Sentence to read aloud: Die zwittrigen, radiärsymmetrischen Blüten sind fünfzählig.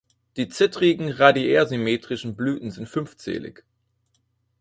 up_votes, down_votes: 0, 4